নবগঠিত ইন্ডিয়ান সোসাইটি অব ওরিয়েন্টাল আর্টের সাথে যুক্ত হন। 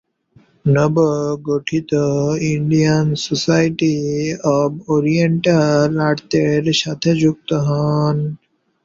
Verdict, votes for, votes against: rejected, 1, 2